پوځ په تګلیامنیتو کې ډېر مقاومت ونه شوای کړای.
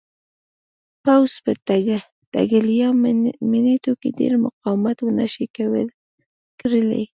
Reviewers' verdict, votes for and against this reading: rejected, 1, 2